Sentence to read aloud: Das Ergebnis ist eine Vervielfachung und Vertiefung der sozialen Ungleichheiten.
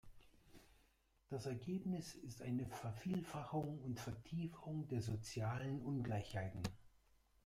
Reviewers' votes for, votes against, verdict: 1, 2, rejected